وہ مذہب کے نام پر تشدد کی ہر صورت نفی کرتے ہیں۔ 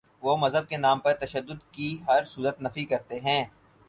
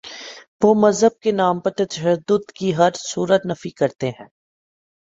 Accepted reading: first